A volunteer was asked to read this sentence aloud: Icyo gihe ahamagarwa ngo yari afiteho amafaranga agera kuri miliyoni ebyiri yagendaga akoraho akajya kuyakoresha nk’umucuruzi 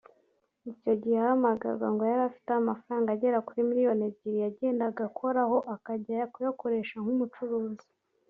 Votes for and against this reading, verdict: 4, 0, accepted